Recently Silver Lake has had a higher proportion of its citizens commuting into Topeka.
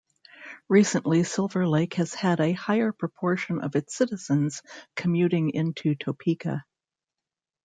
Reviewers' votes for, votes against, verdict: 1, 2, rejected